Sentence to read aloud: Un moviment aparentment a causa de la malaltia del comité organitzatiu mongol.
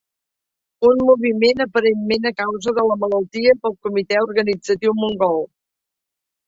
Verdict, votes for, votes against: accepted, 2, 1